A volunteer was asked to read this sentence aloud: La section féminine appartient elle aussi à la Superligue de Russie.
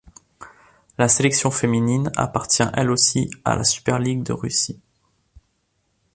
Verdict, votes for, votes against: accepted, 2, 1